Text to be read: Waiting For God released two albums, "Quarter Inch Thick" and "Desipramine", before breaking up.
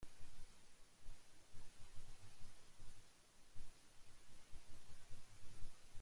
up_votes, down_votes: 0, 2